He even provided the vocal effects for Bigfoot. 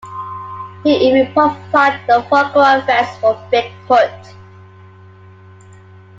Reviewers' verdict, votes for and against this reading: rejected, 1, 2